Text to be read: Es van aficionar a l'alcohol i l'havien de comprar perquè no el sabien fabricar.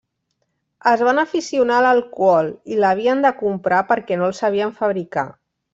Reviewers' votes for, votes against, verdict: 2, 0, accepted